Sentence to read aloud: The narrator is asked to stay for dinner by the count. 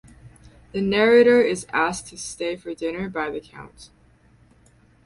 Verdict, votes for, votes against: accepted, 4, 0